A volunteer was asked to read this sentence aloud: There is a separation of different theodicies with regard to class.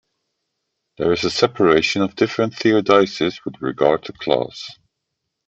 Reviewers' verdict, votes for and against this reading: accepted, 2, 0